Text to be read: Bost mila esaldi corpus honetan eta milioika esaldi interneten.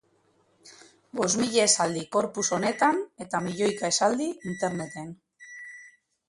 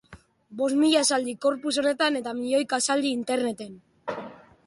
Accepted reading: second